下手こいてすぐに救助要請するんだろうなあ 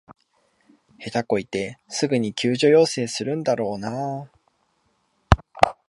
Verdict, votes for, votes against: accepted, 2, 0